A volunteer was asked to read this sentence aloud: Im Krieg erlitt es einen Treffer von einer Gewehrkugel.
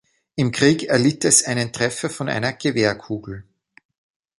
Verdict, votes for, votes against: accepted, 2, 0